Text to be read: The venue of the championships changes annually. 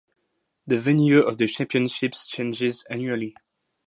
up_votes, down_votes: 2, 0